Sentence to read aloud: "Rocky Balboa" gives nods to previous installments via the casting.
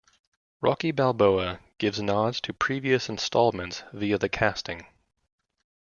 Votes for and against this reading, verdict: 2, 0, accepted